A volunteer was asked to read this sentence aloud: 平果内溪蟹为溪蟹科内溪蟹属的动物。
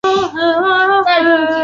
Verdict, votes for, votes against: rejected, 0, 3